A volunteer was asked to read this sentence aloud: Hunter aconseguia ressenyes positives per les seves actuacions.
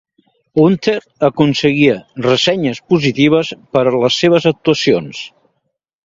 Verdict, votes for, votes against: accepted, 2, 0